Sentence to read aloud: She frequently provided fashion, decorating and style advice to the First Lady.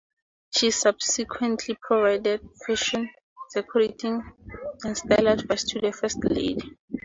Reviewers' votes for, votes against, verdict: 0, 4, rejected